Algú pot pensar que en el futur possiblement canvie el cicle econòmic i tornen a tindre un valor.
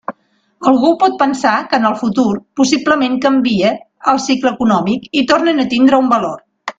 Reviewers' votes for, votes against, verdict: 2, 0, accepted